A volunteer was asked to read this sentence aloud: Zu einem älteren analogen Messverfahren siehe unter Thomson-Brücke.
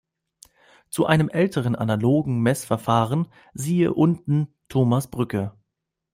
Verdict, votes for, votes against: rejected, 0, 2